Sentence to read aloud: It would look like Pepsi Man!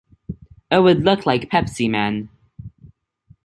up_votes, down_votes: 2, 0